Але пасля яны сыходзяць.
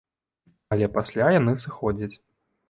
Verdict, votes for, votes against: accepted, 2, 0